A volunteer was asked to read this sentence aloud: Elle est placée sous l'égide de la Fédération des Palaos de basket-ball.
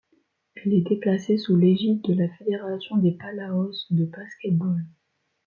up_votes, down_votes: 1, 2